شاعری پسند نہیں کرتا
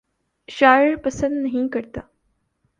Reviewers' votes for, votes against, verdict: 1, 2, rejected